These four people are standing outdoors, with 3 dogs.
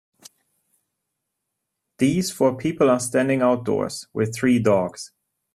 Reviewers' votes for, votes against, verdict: 0, 2, rejected